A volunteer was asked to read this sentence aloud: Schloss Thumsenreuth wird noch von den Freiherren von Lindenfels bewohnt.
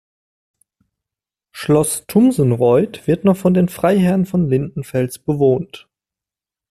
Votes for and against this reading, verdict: 2, 0, accepted